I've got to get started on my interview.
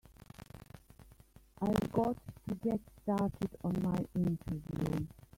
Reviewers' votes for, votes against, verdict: 0, 2, rejected